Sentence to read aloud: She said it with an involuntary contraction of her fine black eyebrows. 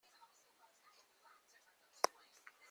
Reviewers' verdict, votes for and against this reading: rejected, 0, 2